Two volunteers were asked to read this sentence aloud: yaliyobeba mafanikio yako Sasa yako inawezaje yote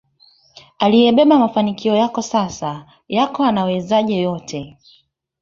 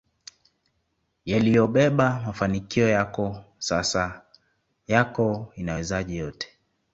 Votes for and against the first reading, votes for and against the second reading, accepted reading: 2, 3, 2, 0, second